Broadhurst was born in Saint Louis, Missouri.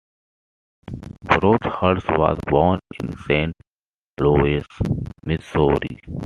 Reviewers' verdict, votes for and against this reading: accepted, 2, 0